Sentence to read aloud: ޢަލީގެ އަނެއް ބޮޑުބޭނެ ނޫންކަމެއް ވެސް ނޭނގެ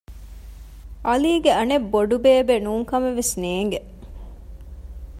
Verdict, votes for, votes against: rejected, 1, 2